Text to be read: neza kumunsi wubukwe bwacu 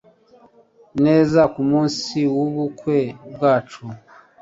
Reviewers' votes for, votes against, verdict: 2, 0, accepted